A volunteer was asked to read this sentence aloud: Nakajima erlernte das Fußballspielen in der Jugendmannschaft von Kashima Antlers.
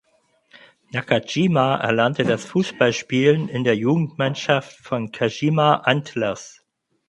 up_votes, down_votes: 4, 0